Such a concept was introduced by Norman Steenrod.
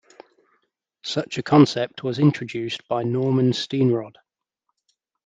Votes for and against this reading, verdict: 2, 0, accepted